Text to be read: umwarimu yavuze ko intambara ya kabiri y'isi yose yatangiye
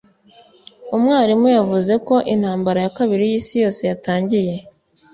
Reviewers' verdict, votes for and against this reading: accepted, 2, 0